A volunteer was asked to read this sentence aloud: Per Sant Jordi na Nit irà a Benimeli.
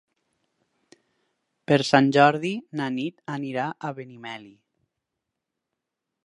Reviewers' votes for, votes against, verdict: 4, 0, accepted